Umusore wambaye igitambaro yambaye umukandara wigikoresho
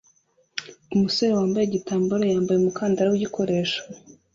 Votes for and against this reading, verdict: 2, 0, accepted